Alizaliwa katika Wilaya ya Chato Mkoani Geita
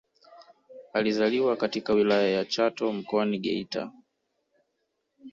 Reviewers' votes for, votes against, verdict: 1, 2, rejected